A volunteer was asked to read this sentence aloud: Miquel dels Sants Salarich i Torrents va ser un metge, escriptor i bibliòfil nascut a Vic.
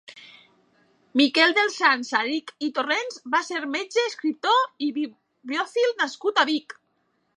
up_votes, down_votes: 2, 1